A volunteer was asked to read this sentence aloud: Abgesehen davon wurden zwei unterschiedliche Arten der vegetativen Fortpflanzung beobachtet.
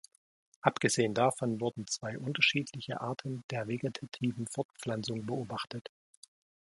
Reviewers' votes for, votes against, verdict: 1, 2, rejected